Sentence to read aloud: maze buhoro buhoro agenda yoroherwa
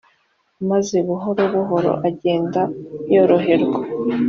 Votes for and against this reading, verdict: 2, 0, accepted